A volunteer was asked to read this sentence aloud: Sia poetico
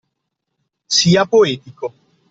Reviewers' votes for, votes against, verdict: 2, 0, accepted